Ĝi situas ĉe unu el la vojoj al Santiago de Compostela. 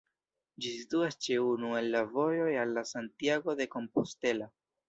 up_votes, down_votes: 0, 2